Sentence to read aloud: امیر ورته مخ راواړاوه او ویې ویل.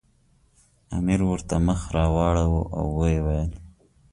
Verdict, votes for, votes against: accepted, 2, 0